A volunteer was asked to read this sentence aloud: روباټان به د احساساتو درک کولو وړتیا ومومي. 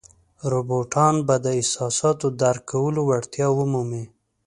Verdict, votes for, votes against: accepted, 4, 0